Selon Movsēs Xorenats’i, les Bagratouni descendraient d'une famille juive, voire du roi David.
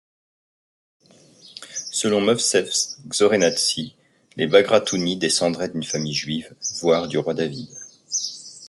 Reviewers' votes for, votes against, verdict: 2, 0, accepted